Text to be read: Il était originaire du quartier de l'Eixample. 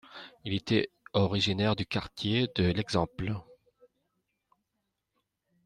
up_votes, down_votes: 2, 0